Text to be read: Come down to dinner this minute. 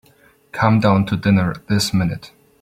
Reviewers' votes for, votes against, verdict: 2, 0, accepted